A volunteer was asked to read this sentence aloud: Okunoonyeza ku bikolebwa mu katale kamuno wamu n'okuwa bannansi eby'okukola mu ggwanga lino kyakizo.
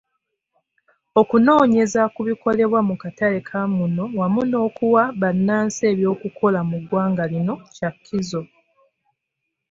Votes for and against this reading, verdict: 1, 2, rejected